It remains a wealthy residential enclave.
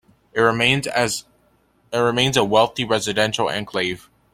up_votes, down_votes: 0, 2